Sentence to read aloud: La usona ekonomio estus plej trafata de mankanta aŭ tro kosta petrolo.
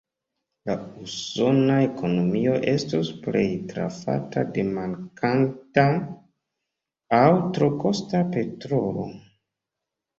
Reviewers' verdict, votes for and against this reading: accepted, 2, 1